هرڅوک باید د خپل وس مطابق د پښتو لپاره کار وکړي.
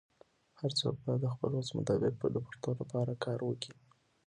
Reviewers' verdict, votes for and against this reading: accepted, 2, 0